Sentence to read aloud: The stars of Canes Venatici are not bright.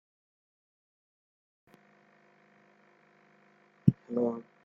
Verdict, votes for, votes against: rejected, 0, 2